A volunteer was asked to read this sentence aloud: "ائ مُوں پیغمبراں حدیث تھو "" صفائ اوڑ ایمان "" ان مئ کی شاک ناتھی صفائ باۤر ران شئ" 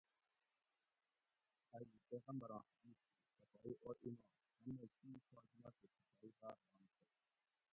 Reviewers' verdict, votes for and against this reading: rejected, 0, 2